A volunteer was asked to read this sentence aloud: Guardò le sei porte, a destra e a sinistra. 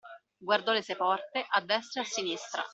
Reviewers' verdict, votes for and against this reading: accepted, 2, 1